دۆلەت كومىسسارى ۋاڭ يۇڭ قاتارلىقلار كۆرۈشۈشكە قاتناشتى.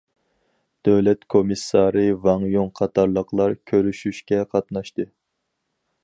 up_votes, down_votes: 4, 0